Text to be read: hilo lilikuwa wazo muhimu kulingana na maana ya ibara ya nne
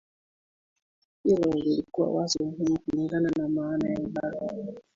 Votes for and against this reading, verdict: 5, 11, rejected